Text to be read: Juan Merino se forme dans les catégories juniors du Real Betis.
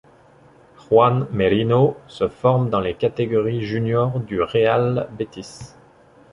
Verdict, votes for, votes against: accepted, 2, 0